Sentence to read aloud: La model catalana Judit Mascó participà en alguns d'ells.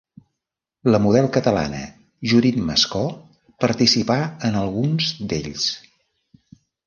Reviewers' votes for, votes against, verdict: 2, 0, accepted